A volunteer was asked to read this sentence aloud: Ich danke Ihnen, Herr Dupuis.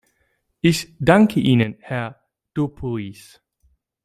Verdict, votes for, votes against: accepted, 2, 1